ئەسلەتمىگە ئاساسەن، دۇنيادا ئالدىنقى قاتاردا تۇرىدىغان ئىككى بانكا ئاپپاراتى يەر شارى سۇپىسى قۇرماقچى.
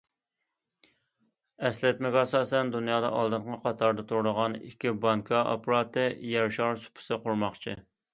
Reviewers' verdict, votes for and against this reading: rejected, 0, 2